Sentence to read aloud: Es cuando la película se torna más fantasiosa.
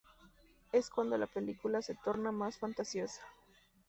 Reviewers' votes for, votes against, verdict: 2, 0, accepted